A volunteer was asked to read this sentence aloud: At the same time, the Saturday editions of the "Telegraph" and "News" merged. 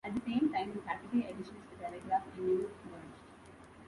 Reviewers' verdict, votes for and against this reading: rejected, 1, 3